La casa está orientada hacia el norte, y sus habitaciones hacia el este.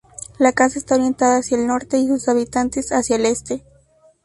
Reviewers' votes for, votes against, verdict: 0, 2, rejected